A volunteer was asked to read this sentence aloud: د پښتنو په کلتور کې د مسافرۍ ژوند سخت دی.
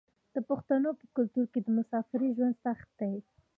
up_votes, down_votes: 3, 2